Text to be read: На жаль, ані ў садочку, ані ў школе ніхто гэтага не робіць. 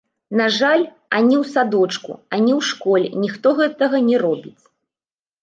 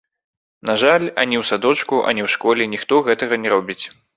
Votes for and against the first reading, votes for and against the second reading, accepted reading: 0, 2, 2, 1, second